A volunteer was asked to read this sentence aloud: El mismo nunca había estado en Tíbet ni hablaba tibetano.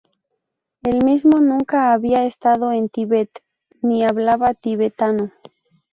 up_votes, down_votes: 2, 0